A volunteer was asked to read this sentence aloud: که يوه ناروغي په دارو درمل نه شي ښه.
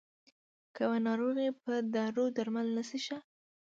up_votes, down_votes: 2, 1